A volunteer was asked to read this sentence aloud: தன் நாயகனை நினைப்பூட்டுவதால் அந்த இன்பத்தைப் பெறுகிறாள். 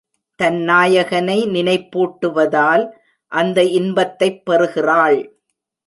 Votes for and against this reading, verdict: 2, 0, accepted